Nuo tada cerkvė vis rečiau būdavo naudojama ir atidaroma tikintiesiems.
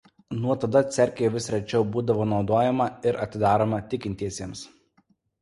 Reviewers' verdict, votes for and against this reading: rejected, 1, 2